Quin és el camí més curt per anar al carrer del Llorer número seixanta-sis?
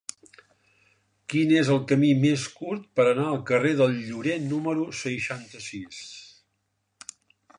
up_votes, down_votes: 3, 0